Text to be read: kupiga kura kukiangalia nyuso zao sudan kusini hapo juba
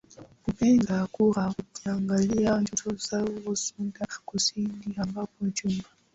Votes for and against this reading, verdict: 1, 2, rejected